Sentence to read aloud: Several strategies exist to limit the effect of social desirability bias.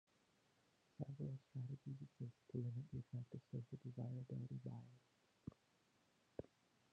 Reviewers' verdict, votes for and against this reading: rejected, 0, 2